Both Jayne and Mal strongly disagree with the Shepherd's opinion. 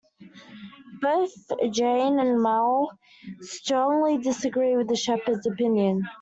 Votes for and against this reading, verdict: 2, 0, accepted